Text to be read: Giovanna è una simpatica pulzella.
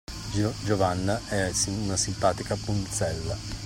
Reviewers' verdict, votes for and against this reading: accepted, 2, 1